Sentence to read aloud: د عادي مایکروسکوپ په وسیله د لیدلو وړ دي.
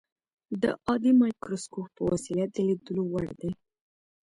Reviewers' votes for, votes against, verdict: 1, 2, rejected